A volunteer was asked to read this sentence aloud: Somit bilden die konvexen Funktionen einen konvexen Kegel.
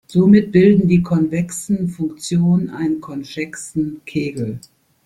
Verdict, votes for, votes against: rejected, 0, 2